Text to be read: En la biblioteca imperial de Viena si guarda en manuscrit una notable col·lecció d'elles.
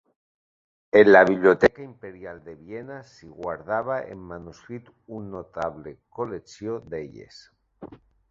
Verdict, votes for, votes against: rejected, 0, 2